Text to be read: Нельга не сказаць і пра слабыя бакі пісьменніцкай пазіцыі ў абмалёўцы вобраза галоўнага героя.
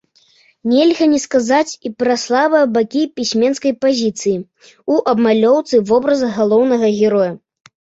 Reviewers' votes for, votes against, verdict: 1, 2, rejected